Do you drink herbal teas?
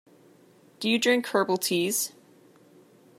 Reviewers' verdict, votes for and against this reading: accepted, 2, 0